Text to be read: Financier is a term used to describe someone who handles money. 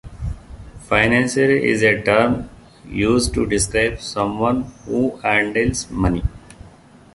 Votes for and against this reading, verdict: 2, 0, accepted